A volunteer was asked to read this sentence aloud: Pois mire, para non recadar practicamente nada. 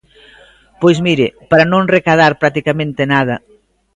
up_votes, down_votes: 2, 0